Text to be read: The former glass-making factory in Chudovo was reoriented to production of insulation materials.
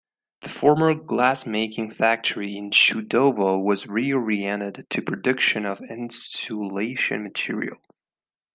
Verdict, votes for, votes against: rejected, 1, 2